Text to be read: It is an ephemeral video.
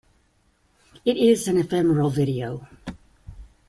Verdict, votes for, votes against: accepted, 2, 0